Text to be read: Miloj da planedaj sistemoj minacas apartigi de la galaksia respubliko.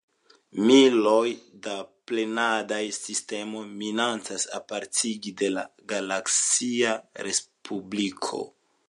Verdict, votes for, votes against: accepted, 2, 0